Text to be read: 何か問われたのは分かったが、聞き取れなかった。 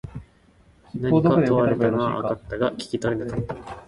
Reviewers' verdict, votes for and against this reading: rejected, 0, 2